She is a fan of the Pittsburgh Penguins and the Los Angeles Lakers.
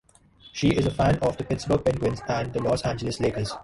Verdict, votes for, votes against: rejected, 1, 2